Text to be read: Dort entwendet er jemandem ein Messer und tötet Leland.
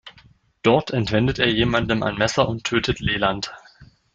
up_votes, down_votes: 2, 0